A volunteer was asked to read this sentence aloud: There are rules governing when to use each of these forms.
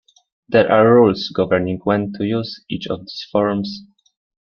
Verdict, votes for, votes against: rejected, 0, 2